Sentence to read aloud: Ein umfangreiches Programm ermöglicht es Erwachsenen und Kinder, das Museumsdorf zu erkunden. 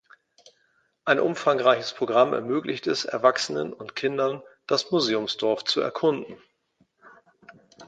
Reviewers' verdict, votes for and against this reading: rejected, 1, 2